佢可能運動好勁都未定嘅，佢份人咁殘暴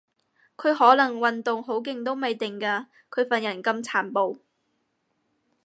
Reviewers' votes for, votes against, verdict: 2, 4, rejected